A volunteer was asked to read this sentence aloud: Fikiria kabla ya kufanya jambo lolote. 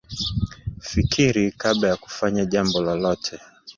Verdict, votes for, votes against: rejected, 0, 2